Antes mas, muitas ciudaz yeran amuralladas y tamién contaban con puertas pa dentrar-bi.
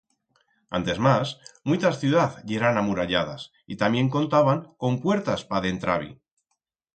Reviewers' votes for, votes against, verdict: 4, 0, accepted